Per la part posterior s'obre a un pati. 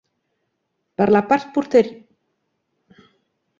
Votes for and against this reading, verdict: 0, 2, rejected